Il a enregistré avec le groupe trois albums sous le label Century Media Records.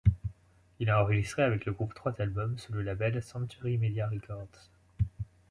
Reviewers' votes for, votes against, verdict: 2, 0, accepted